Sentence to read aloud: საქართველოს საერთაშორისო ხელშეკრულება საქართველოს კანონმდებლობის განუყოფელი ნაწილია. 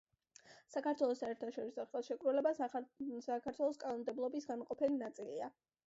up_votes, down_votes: 1, 2